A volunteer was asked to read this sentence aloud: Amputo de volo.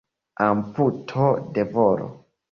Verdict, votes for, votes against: accepted, 2, 0